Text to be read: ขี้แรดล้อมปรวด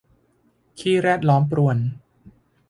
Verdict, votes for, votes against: rejected, 0, 2